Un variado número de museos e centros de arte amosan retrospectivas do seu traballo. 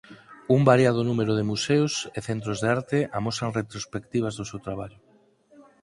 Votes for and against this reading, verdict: 4, 0, accepted